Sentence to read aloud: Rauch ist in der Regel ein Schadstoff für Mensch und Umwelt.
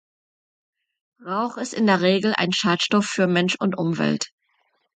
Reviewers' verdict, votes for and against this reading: accepted, 2, 0